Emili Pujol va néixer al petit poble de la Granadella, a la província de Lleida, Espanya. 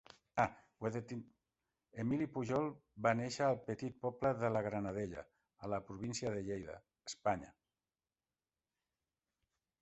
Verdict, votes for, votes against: rejected, 1, 2